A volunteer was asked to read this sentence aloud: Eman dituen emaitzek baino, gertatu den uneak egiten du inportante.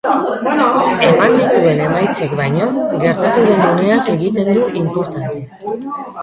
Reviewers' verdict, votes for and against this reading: rejected, 0, 2